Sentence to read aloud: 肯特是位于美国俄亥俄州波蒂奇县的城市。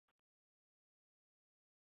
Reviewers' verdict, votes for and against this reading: rejected, 0, 4